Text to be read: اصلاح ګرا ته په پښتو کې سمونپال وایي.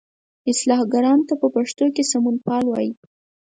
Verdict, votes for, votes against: accepted, 4, 0